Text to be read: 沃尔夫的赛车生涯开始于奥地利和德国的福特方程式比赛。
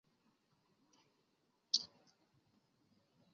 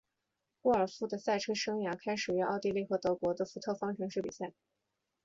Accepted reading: second